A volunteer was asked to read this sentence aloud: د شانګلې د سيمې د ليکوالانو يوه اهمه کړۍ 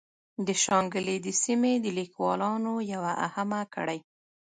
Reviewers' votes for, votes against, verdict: 0, 2, rejected